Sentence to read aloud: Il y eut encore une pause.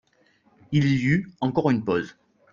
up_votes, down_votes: 2, 1